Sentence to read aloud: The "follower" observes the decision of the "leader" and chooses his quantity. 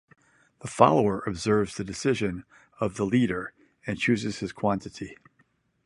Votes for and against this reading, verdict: 0, 2, rejected